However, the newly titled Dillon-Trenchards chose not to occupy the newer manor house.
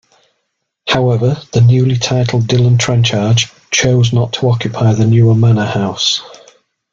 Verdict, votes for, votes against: accepted, 2, 0